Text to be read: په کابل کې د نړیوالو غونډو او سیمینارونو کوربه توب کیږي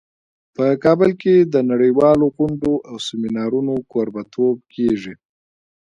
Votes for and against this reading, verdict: 2, 0, accepted